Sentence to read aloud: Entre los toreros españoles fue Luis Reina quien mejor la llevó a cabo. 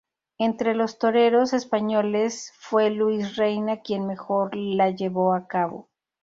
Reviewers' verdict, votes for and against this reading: accepted, 2, 0